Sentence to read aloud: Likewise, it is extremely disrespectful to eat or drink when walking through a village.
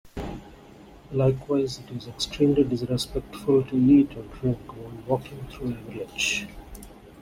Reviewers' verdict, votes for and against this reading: accepted, 2, 1